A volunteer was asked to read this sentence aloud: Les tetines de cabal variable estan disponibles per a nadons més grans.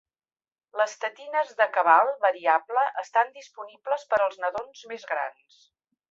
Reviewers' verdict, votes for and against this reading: rejected, 1, 2